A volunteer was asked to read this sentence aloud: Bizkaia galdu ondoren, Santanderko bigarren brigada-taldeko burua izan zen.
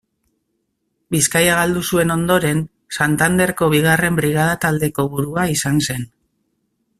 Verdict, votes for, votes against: rejected, 0, 2